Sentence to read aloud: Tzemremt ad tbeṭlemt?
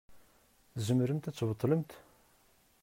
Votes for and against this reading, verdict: 2, 0, accepted